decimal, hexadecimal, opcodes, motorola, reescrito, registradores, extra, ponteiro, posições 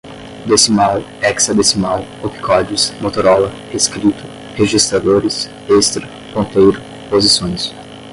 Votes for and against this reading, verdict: 5, 5, rejected